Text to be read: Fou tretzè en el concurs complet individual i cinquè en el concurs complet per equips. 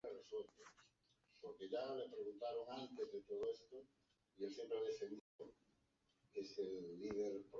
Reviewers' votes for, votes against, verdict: 0, 2, rejected